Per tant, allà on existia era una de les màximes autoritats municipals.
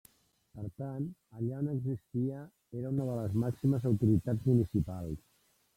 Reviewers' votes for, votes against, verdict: 1, 2, rejected